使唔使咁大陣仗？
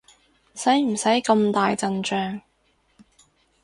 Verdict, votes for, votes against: accepted, 4, 0